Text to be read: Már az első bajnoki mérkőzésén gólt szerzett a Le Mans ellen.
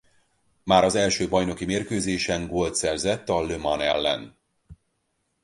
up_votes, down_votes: 0, 4